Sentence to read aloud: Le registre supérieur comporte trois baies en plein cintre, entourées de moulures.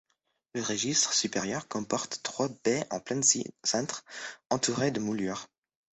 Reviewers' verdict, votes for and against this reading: rejected, 1, 2